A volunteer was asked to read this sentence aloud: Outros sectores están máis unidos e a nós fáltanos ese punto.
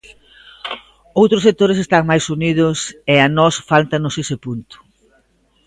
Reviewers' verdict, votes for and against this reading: accepted, 2, 0